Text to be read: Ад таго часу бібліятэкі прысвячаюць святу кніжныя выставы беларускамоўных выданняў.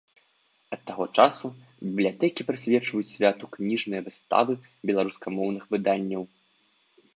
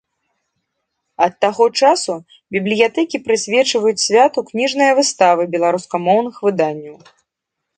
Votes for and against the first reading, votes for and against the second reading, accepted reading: 0, 2, 2, 1, second